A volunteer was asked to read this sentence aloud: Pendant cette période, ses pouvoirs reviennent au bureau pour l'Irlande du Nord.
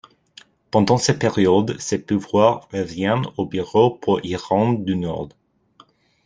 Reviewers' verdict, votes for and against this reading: rejected, 0, 2